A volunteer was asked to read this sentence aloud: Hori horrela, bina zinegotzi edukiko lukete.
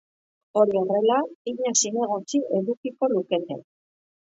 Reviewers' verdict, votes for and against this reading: accepted, 2, 0